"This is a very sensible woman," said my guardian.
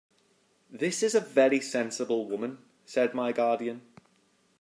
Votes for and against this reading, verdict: 2, 0, accepted